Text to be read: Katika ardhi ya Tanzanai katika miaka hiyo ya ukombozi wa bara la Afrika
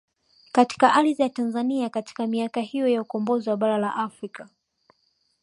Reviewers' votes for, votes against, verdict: 1, 2, rejected